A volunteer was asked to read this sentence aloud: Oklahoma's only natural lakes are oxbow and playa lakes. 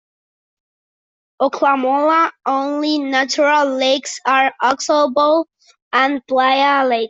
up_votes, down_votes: 0, 2